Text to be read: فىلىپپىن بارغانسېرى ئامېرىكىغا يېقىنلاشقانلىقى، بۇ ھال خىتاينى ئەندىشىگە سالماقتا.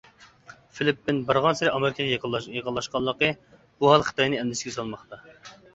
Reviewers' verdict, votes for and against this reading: rejected, 0, 2